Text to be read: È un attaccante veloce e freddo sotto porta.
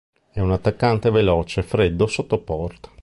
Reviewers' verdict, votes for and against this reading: rejected, 1, 2